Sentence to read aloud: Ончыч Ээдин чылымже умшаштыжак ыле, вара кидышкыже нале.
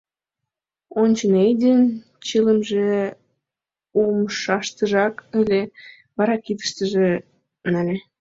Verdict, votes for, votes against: rejected, 1, 2